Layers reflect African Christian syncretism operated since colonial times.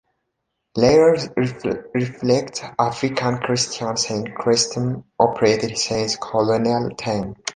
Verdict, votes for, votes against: rejected, 0, 2